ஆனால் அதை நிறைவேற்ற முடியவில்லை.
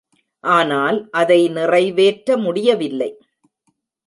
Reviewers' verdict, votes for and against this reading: accepted, 2, 0